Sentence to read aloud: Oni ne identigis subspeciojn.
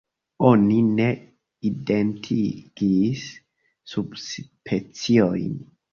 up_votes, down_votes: 1, 2